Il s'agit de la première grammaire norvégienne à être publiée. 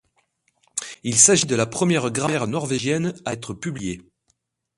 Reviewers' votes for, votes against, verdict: 2, 0, accepted